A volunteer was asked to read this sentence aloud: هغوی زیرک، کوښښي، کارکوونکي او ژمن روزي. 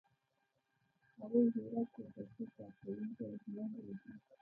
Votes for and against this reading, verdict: 0, 2, rejected